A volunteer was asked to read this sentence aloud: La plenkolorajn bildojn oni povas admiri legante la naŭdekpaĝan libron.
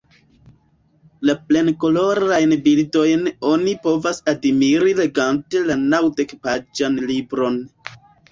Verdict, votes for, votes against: accepted, 2, 1